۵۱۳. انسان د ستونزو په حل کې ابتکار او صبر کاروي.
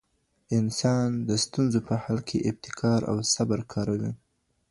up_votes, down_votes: 0, 2